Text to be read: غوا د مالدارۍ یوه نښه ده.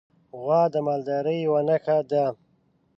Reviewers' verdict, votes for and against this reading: accepted, 2, 0